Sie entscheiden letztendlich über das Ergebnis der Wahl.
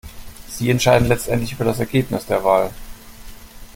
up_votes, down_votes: 2, 0